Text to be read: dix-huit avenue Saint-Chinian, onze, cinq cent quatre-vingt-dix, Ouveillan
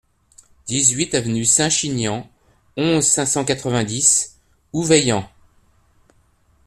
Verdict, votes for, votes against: accepted, 2, 0